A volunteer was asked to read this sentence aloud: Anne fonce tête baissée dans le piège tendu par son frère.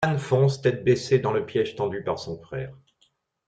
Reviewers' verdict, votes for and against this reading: rejected, 0, 2